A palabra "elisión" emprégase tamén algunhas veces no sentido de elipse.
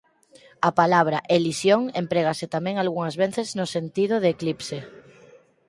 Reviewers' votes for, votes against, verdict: 2, 4, rejected